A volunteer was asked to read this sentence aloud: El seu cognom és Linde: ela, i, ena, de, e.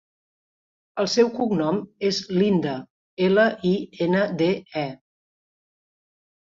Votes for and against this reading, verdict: 2, 0, accepted